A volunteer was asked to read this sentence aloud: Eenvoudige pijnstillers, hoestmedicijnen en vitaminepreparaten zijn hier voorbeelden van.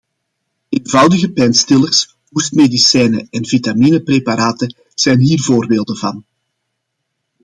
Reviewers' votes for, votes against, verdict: 2, 0, accepted